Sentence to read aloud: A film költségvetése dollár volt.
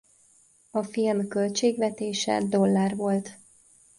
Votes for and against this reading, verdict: 2, 0, accepted